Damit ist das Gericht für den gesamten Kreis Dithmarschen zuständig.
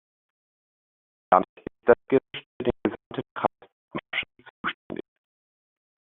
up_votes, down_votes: 0, 2